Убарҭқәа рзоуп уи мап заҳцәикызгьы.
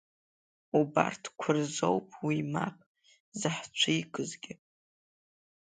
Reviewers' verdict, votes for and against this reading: accepted, 2, 0